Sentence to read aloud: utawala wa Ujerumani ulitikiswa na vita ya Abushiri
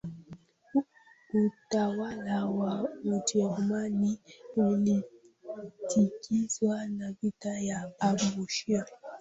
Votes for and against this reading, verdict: 0, 2, rejected